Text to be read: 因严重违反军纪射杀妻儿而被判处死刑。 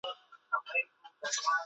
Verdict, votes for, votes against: rejected, 0, 3